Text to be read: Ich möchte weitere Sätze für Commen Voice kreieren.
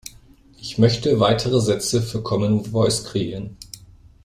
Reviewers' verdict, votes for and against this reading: rejected, 0, 2